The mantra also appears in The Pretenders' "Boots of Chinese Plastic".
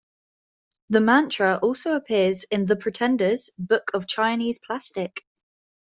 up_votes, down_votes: 0, 2